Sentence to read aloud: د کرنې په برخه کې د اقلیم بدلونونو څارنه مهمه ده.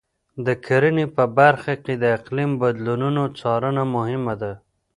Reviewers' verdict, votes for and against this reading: rejected, 1, 2